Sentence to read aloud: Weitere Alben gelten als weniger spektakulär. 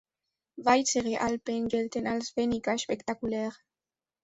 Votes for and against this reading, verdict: 2, 0, accepted